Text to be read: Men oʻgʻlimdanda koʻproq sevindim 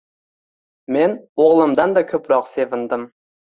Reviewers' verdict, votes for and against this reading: accepted, 2, 0